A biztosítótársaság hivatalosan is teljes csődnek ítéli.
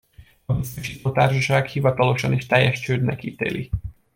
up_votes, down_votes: 0, 2